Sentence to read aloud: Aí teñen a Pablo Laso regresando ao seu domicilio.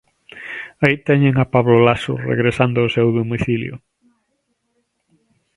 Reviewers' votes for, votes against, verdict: 2, 0, accepted